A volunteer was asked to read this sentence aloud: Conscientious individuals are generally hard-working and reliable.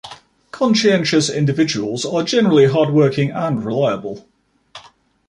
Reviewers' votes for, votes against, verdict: 2, 0, accepted